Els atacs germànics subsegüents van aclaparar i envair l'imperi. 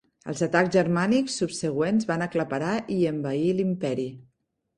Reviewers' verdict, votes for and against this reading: accepted, 3, 0